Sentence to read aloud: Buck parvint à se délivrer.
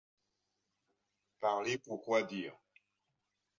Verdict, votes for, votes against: rejected, 0, 2